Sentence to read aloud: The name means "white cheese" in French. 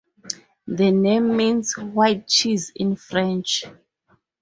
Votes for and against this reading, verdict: 4, 0, accepted